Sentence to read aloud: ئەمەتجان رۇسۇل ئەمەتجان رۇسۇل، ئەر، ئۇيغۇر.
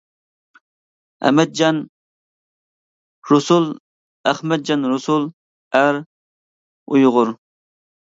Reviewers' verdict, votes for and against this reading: accepted, 2, 0